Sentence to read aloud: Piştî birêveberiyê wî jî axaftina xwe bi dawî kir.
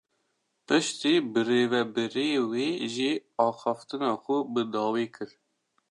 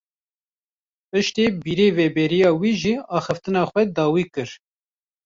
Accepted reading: first